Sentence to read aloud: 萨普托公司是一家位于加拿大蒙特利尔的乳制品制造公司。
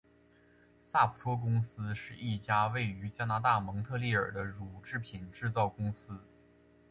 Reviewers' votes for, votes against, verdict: 3, 0, accepted